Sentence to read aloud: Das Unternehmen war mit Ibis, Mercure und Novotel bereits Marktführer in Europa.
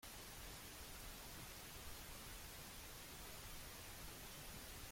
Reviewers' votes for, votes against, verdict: 0, 2, rejected